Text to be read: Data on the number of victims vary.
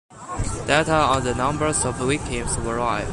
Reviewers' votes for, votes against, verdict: 0, 2, rejected